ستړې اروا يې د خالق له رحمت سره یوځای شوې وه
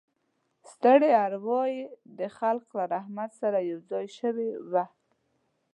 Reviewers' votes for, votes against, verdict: 0, 2, rejected